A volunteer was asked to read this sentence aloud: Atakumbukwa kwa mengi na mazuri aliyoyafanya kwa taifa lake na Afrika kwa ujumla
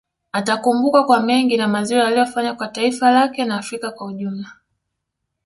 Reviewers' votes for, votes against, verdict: 1, 2, rejected